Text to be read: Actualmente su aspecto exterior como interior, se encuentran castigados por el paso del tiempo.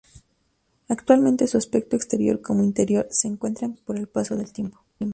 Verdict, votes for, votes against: rejected, 0, 2